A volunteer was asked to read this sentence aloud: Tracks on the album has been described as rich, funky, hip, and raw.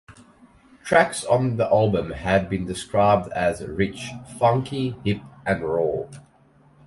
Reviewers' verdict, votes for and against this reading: rejected, 2, 4